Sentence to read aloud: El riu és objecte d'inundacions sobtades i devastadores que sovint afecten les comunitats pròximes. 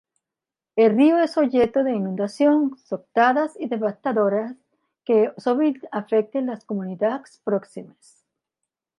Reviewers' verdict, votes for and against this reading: rejected, 0, 2